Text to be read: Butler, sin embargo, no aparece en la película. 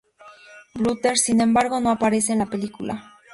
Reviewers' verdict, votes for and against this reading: accepted, 2, 0